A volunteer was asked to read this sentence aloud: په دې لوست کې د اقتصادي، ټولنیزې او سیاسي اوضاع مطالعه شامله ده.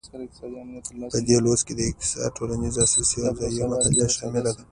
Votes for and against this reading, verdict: 1, 2, rejected